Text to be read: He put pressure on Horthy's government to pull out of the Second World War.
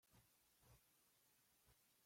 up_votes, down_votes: 1, 2